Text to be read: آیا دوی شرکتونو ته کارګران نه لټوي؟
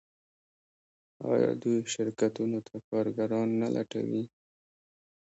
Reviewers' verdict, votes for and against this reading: rejected, 1, 2